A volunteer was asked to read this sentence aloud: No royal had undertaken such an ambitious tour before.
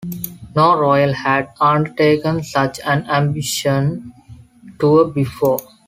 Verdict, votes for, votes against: rejected, 0, 2